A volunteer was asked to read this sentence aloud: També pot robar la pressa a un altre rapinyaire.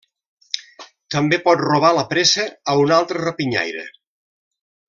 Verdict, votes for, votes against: rejected, 0, 2